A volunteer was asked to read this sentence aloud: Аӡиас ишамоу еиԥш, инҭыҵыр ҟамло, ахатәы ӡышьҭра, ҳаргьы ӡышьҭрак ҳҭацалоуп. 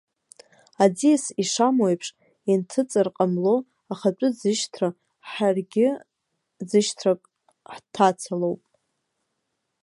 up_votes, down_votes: 0, 2